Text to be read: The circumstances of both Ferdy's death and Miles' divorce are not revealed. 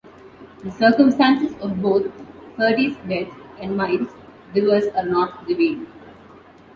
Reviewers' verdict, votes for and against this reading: accepted, 2, 0